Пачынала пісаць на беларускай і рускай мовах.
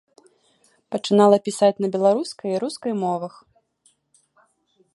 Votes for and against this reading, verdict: 2, 0, accepted